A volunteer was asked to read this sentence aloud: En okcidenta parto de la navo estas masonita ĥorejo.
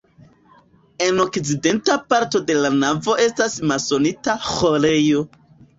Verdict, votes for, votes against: accepted, 3, 2